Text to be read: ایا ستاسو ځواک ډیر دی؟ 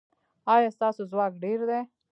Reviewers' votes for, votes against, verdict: 1, 2, rejected